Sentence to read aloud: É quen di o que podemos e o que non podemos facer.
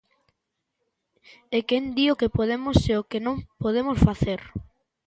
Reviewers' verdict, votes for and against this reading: accepted, 2, 0